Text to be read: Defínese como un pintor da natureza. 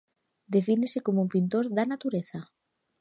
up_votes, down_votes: 2, 1